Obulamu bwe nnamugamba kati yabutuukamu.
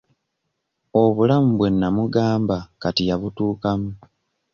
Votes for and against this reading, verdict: 3, 0, accepted